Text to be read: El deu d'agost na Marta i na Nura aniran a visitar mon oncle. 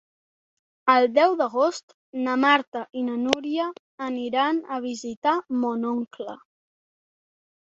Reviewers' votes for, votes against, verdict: 1, 2, rejected